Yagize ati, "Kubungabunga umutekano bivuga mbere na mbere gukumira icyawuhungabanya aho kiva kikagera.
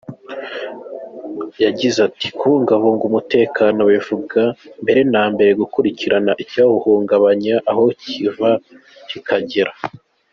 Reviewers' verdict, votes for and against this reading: accepted, 2, 0